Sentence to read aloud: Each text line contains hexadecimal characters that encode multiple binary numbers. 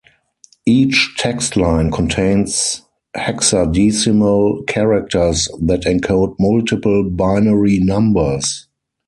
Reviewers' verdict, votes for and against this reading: rejected, 2, 4